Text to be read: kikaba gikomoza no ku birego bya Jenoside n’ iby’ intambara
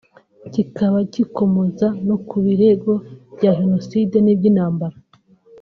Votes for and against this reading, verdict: 1, 2, rejected